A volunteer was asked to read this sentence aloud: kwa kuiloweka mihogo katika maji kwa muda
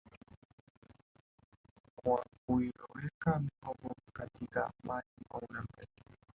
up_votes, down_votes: 2, 0